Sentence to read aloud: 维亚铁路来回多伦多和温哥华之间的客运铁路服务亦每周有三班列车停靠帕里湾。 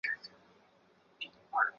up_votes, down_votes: 2, 3